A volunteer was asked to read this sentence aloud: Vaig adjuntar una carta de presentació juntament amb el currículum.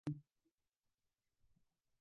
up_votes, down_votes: 1, 3